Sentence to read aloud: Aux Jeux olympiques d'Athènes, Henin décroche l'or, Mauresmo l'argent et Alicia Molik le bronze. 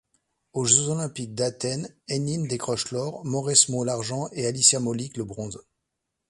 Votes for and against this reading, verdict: 1, 2, rejected